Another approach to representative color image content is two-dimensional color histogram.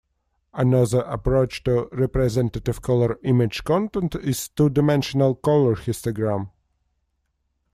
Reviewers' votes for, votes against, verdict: 2, 0, accepted